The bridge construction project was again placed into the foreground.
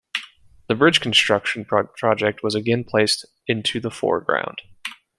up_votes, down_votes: 1, 2